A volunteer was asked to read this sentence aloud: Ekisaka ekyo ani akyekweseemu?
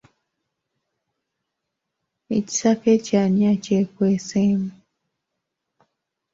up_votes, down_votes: 3, 0